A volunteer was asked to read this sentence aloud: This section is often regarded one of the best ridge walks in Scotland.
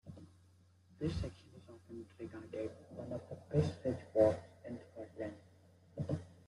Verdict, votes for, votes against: rejected, 1, 2